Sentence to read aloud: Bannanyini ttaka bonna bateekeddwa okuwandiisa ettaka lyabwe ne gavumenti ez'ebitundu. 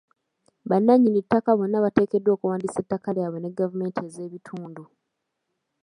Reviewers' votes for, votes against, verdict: 2, 1, accepted